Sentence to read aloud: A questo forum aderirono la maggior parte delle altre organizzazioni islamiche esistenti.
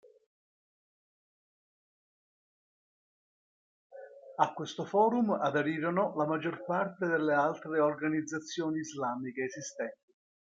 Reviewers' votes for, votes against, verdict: 1, 2, rejected